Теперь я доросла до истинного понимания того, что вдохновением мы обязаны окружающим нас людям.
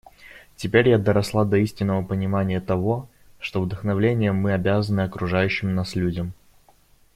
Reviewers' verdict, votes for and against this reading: rejected, 0, 2